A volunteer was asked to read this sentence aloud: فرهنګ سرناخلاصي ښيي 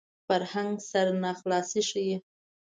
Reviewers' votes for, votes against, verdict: 2, 0, accepted